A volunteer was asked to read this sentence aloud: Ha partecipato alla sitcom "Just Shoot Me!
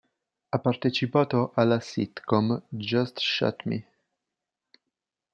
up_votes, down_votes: 2, 0